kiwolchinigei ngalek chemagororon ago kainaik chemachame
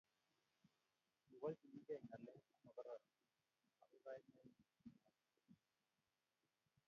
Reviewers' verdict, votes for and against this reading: rejected, 1, 2